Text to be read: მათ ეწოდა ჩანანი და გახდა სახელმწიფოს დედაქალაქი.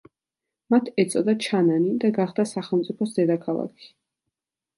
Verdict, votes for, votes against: accepted, 2, 0